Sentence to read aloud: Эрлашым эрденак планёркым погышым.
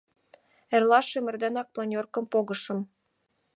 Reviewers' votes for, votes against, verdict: 2, 0, accepted